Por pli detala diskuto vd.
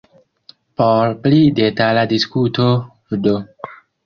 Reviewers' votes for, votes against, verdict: 1, 2, rejected